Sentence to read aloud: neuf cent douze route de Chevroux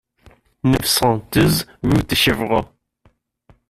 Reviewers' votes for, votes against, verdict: 2, 1, accepted